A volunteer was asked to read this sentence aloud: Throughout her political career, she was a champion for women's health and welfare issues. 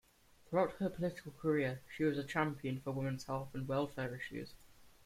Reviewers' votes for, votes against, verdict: 2, 0, accepted